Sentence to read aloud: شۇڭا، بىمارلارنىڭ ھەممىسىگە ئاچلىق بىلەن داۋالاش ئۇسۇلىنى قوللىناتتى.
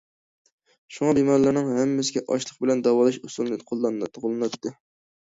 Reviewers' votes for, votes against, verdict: 0, 2, rejected